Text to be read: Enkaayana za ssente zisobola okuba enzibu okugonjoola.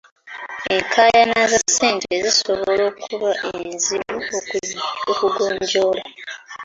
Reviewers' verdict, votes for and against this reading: accepted, 2, 1